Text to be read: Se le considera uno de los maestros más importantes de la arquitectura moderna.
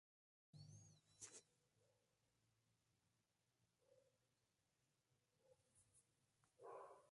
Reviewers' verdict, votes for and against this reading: rejected, 0, 2